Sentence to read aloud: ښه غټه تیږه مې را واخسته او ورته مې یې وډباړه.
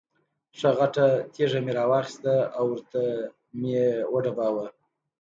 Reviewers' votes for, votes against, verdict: 2, 0, accepted